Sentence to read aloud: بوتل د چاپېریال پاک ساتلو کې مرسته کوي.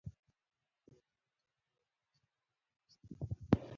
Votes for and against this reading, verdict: 1, 4, rejected